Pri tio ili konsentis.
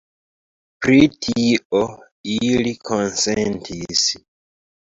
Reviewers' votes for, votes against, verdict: 1, 2, rejected